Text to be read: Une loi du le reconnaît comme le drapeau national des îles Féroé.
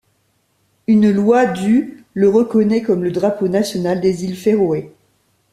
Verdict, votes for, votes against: accepted, 2, 0